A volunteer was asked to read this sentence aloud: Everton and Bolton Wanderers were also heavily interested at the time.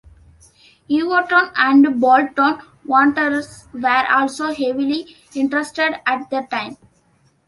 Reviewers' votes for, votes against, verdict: 3, 0, accepted